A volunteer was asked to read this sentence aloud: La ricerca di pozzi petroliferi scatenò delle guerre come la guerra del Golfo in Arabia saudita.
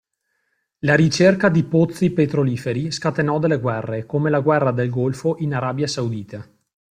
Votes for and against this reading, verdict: 2, 0, accepted